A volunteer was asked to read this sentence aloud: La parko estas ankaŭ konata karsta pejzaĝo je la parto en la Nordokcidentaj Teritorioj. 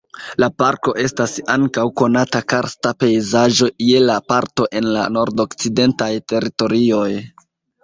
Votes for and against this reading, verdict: 3, 2, accepted